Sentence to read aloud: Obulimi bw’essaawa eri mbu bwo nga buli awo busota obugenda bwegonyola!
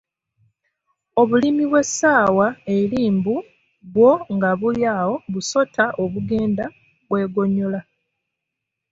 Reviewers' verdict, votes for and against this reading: accepted, 2, 1